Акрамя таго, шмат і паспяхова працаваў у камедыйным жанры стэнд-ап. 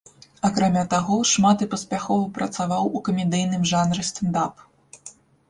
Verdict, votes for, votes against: accepted, 2, 1